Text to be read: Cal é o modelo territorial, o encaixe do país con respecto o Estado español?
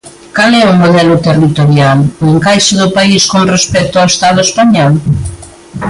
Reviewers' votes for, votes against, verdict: 2, 0, accepted